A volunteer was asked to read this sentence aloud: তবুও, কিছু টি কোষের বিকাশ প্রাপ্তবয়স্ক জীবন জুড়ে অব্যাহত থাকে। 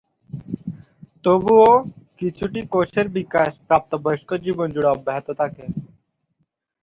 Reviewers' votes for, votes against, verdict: 0, 2, rejected